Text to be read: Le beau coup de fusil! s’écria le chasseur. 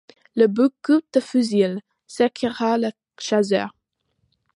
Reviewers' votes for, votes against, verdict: 1, 2, rejected